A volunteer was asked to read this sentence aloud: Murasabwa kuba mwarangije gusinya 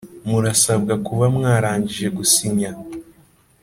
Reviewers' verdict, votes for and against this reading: accepted, 2, 0